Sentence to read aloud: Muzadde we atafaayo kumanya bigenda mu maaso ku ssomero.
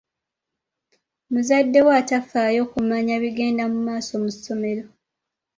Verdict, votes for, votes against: rejected, 0, 2